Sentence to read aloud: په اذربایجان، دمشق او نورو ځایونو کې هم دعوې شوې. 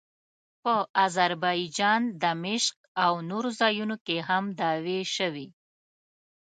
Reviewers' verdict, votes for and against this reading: accepted, 2, 0